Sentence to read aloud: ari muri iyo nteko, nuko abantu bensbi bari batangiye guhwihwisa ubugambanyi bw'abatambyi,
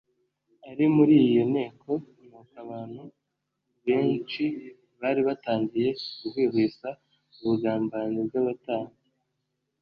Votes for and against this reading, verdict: 1, 2, rejected